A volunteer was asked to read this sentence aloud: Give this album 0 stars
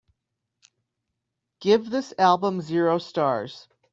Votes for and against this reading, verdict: 0, 2, rejected